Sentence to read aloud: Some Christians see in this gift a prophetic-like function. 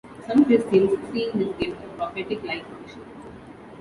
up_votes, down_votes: 2, 0